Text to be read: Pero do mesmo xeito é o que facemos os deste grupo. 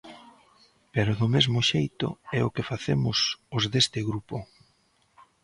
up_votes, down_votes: 2, 0